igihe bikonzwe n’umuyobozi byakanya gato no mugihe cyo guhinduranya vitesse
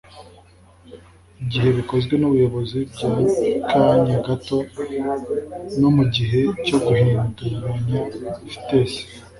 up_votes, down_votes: 1, 2